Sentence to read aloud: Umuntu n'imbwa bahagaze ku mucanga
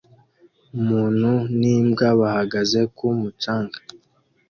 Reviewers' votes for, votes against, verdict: 2, 1, accepted